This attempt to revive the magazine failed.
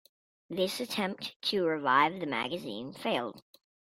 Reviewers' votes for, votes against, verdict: 2, 0, accepted